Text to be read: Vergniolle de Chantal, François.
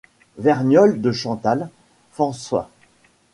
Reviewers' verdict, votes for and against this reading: accepted, 2, 1